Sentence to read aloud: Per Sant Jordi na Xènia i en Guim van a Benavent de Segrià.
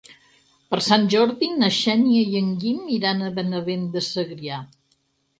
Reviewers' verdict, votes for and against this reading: rejected, 2, 4